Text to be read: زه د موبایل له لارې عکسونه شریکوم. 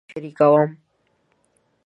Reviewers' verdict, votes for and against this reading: rejected, 0, 2